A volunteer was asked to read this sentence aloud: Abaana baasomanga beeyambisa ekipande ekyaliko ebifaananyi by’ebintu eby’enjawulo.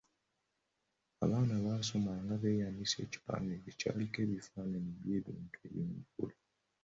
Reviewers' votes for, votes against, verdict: 1, 2, rejected